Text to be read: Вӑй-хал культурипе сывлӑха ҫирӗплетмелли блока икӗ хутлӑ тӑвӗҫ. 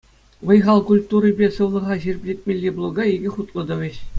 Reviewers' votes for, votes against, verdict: 2, 1, accepted